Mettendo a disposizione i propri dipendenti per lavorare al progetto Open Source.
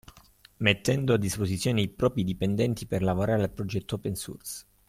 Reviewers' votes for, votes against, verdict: 2, 0, accepted